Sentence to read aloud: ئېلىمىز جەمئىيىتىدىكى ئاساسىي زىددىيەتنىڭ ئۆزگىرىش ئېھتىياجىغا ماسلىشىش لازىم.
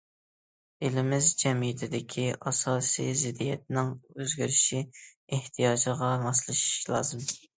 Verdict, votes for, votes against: accepted, 2, 0